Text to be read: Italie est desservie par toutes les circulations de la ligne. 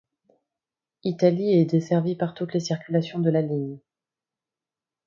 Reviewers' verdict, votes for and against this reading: accepted, 2, 0